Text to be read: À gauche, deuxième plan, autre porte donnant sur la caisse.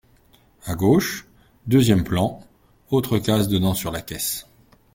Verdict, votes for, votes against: rejected, 0, 2